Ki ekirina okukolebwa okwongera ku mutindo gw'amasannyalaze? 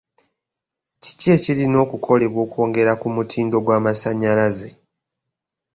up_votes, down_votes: 1, 2